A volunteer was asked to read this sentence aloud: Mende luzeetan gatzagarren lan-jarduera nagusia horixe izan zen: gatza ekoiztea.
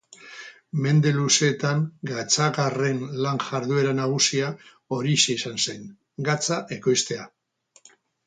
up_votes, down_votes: 2, 0